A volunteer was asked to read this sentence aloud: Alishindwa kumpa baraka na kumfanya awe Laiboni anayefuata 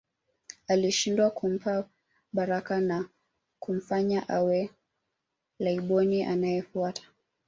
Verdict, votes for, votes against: accepted, 2, 0